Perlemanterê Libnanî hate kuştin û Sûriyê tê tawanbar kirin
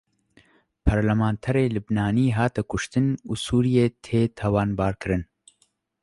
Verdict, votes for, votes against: accepted, 2, 0